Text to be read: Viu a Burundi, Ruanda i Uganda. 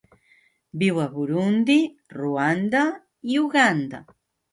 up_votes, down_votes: 2, 0